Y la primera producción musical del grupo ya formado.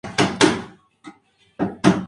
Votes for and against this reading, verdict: 2, 0, accepted